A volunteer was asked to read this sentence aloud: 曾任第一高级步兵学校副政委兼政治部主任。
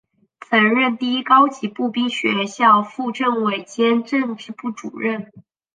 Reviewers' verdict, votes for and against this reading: accepted, 2, 0